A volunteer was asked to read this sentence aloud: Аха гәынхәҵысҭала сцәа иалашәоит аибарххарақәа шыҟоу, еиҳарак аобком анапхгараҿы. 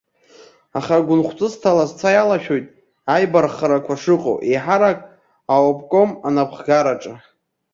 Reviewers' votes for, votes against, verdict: 2, 0, accepted